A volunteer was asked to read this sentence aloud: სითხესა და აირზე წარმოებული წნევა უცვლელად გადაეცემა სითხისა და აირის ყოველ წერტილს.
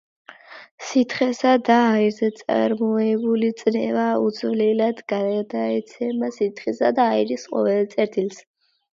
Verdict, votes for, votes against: accepted, 2, 0